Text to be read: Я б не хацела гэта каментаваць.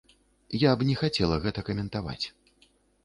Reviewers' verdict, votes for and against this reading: accepted, 2, 0